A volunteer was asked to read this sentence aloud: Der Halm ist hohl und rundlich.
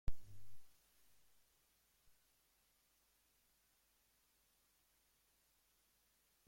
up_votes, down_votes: 1, 2